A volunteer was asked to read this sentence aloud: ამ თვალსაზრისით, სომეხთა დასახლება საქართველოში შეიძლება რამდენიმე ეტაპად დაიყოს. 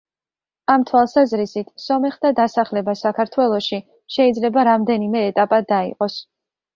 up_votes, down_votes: 2, 0